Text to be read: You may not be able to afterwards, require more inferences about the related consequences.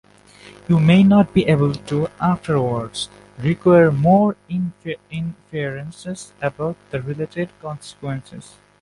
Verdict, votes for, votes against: rejected, 1, 2